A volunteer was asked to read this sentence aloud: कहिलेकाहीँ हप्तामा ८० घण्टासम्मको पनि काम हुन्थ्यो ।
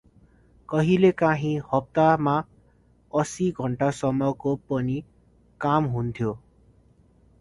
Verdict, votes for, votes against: rejected, 0, 2